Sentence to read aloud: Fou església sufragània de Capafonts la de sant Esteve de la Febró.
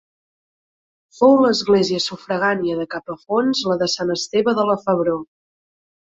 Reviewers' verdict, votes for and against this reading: accepted, 3, 0